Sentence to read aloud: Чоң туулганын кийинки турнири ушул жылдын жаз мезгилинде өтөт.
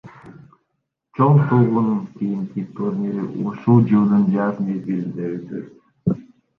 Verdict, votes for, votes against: rejected, 1, 2